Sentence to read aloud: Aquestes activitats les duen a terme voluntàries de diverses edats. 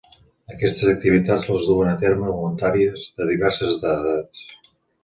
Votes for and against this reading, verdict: 0, 2, rejected